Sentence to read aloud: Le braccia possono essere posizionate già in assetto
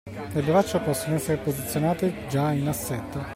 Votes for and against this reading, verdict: 2, 0, accepted